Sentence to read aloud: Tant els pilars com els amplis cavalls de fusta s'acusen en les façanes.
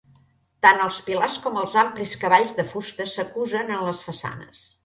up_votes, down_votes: 0, 2